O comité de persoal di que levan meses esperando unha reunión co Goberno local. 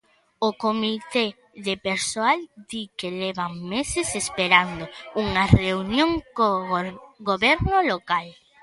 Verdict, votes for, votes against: rejected, 0, 2